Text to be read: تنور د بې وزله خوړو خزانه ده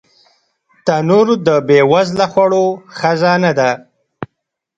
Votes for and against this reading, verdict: 1, 2, rejected